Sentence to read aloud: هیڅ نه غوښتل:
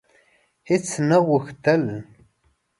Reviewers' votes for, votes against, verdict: 2, 0, accepted